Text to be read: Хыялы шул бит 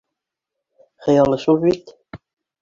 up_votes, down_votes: 2, 0